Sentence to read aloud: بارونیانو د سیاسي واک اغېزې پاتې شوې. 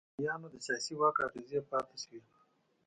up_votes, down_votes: 1, 2